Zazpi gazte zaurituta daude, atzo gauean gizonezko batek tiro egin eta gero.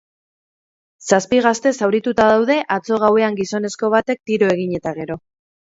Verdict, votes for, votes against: accepted, 8, 0